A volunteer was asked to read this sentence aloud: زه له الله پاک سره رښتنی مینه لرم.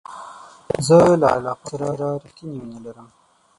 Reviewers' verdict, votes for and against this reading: rejected, 0, 6